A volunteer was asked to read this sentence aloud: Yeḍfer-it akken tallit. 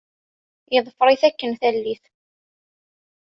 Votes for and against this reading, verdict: 2, 0, accepted